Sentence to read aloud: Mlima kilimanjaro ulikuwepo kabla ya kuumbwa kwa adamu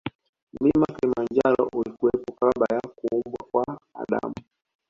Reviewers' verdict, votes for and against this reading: rejected, 1, 2